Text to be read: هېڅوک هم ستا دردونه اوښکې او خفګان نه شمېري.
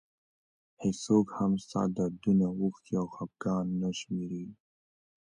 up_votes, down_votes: 2, 0